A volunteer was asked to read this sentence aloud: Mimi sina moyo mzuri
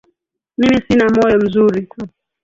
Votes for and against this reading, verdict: 0, 2, rejected